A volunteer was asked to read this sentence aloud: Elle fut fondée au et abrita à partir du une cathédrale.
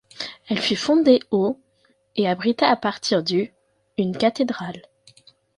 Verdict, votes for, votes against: accepted, 3, 0